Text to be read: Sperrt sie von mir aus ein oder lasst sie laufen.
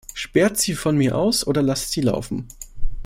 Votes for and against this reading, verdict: 0, 2, rejected